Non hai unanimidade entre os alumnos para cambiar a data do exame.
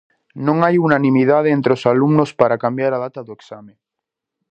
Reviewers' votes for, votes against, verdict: 4, 0, accepted